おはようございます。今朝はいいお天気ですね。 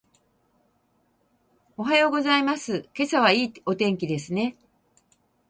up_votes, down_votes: 2, 2